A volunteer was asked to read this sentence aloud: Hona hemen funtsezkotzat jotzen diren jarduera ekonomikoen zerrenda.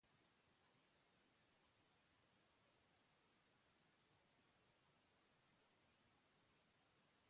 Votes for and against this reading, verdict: 0, 2, rejected